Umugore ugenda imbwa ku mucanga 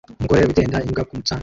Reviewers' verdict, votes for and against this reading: rejected, 0, 2